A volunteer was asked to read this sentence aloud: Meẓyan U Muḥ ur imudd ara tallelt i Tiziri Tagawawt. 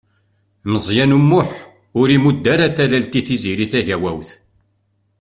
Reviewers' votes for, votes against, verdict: 2, 0, accepted